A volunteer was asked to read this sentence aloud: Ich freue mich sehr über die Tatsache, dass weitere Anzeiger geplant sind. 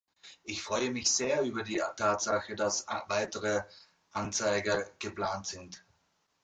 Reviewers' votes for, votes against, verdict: 0, 2, rejected